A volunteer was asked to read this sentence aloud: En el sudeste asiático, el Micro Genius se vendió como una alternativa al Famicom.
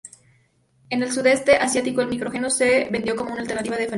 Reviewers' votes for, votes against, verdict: 4, 2, accepted